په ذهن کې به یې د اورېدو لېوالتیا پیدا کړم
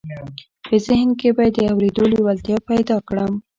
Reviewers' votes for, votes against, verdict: 0, 3, rejected